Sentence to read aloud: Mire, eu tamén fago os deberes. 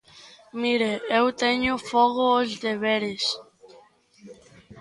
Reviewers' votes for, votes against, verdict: 0, 2, rejected